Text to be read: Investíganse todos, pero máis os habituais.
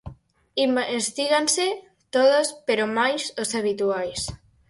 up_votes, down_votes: 2, 4